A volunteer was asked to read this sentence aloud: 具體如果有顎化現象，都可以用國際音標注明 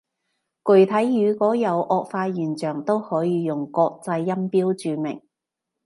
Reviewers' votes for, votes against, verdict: 2, 0, accepted